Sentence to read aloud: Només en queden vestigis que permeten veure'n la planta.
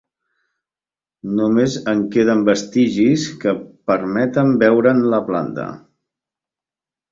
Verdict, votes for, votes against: accepted, 2, 0